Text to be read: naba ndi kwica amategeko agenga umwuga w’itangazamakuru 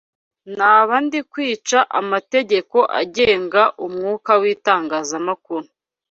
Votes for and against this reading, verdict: 1, 2, rejected